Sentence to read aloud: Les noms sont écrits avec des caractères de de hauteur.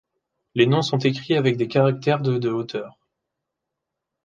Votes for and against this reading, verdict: 2, 0, accepted